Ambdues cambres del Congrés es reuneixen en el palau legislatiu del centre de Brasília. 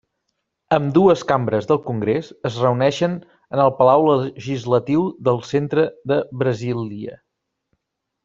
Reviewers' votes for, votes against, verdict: 1, 2, rejected